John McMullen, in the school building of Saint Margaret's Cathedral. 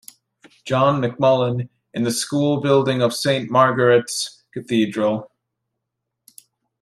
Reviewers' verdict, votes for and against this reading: accepted, 2, 0